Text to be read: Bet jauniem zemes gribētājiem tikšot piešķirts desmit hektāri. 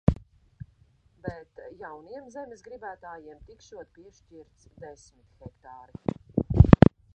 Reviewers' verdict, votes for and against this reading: rejected, 1, 2